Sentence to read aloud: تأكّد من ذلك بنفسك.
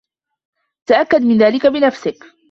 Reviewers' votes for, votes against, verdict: 2, 1, accepted